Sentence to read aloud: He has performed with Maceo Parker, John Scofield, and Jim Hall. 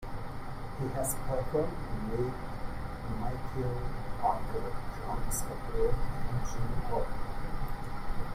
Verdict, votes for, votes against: rejected, 0, 2